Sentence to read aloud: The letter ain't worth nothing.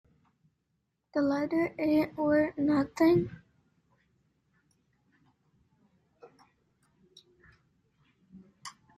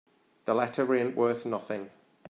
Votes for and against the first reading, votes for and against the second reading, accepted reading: 1, 2, 3, 0, second